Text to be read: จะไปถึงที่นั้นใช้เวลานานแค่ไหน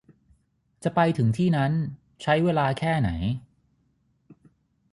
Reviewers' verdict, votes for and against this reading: rejected, 3, 3